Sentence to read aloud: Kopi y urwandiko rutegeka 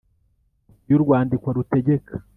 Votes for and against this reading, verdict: 0, 2, rejected